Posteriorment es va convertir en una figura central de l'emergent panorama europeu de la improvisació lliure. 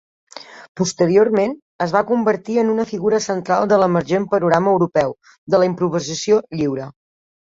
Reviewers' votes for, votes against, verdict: 1, 2, rejected